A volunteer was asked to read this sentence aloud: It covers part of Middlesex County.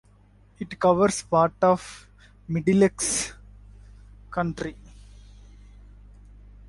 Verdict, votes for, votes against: rejected, 0, 4